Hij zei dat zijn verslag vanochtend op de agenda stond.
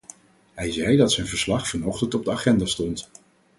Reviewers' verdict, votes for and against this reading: accepted, 4, 0